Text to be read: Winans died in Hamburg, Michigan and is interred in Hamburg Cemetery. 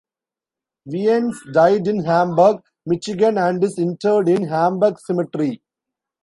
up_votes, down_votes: 0, 2